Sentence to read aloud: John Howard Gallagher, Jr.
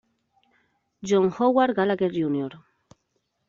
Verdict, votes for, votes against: accepted, 2, 0